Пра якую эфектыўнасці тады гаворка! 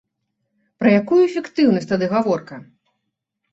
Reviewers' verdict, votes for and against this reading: rejected, 1, 2